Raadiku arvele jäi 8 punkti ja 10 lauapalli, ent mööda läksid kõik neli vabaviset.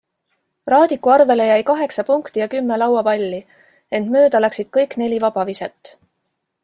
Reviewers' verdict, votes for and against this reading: rejected, 0, 2